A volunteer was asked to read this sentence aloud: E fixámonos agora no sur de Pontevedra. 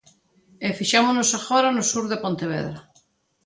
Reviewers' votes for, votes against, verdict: 2, 0, accepted